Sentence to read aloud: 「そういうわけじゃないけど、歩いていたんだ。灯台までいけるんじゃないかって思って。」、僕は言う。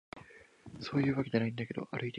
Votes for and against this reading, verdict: 1, 2, rejected